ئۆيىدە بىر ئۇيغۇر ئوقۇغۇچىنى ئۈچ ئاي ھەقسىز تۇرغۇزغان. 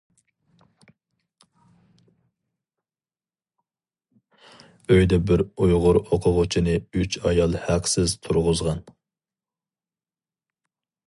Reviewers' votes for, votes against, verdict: 0, 2, rejected